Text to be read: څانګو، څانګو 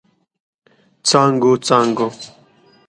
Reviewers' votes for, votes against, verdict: 2, 0, accepted